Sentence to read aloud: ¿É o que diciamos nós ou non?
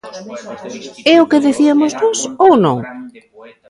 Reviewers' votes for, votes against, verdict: 1, 2, rejected